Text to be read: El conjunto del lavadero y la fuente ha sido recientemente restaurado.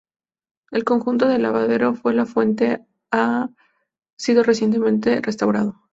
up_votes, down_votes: 0, 2